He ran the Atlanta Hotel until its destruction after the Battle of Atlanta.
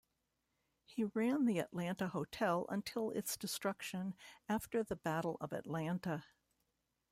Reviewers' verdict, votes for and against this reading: accepted, 2, 1